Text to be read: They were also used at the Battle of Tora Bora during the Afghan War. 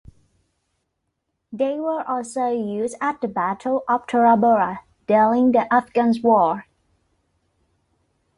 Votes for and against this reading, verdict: 2, 1, accepted